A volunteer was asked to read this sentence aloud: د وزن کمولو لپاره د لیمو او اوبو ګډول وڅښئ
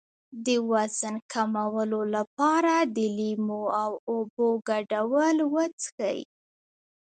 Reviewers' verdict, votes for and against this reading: accepted, 2, 1